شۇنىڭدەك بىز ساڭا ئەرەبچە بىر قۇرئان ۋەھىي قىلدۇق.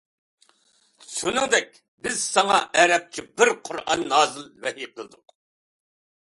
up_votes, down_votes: 0, 2